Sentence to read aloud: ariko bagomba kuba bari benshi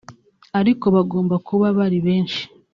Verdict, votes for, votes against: rejected, 1, 2